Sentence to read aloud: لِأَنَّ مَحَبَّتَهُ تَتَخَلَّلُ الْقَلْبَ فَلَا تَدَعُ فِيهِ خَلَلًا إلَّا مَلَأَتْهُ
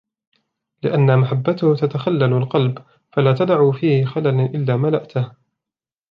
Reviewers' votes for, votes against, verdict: 1, 2, rejected